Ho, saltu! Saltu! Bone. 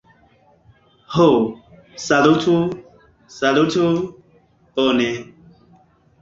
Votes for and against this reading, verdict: 1, 2, rejected